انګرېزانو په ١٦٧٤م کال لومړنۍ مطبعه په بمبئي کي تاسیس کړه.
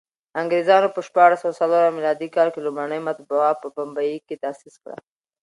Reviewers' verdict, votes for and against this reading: rejected, 0, 2